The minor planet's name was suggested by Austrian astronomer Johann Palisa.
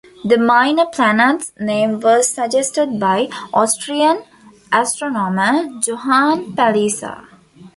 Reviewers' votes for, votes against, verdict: 3, 1, accepted